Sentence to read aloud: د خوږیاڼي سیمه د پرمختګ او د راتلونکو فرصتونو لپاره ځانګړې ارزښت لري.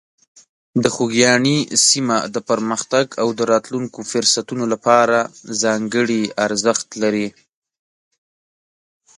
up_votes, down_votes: 2, 0